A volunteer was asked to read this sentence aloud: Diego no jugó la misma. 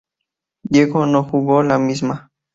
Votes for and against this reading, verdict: 2, 0, accepted